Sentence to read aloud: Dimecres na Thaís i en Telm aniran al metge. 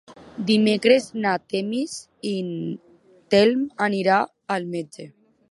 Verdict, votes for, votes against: rejected, 0, 2